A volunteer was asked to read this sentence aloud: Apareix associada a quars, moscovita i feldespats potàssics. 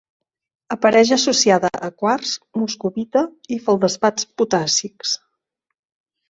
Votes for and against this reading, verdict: 0, 2, rejected